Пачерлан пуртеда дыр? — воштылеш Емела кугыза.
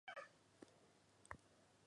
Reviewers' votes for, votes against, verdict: 1, 4, rejected